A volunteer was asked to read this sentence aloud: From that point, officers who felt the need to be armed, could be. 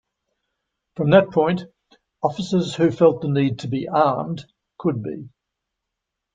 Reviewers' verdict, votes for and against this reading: accepted, 2, 0